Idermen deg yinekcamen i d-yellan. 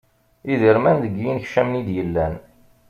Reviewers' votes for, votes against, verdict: 2, 0, accepted